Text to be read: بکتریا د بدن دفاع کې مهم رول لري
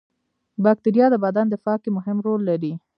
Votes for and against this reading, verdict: 0, 2, rejected